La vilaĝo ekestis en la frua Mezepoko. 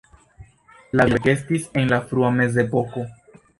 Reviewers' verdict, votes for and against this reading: rejected, 1, 2